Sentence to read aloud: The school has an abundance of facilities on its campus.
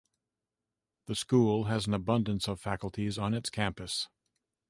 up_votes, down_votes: 0, 2